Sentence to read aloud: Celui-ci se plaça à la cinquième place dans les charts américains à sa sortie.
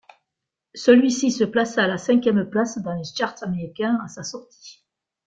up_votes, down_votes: 2, 0